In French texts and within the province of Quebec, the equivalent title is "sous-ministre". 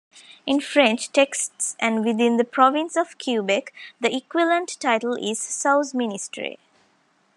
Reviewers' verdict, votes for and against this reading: rejected, 0, 2